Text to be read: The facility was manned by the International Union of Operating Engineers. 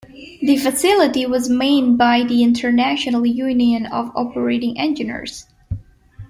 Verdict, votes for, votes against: accepted, 2, 1